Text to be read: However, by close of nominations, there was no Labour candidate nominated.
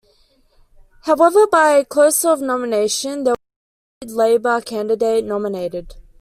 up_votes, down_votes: 0, 2